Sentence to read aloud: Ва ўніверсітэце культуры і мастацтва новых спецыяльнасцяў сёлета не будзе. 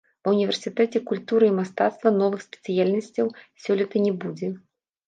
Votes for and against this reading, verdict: 1, 2, rejected